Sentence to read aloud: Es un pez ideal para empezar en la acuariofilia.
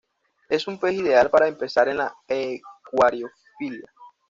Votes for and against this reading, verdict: 2, 0, accepted